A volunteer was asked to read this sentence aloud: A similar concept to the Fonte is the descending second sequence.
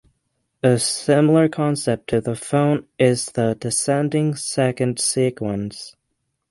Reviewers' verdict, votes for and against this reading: rejected, 0, 6